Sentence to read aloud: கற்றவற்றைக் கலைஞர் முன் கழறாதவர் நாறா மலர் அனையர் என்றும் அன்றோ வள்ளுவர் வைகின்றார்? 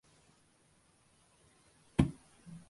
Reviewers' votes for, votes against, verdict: 0, 2, rejected